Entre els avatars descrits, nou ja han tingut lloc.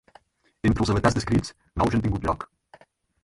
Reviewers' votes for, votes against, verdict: 2, 4, rejected